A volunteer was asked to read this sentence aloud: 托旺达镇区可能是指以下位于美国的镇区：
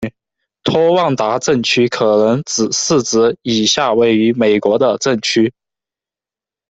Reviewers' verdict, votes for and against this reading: accepted, 2, 0